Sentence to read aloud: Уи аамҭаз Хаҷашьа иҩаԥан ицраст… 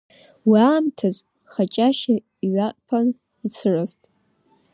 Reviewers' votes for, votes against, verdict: 2, 3, rejected